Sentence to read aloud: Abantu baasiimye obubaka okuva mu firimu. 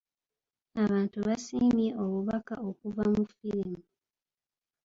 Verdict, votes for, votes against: rejected, 1, 2